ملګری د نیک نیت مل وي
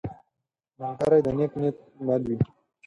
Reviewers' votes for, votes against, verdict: 2, 4, rejected